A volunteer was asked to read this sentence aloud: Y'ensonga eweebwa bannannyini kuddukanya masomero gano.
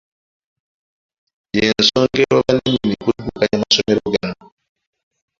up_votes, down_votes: 0, 2